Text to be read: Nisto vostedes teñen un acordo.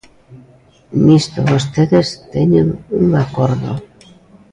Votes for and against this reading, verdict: 2, 0, accepted